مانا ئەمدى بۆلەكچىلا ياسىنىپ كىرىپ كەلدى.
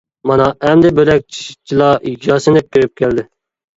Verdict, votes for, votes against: rejected, 0, 2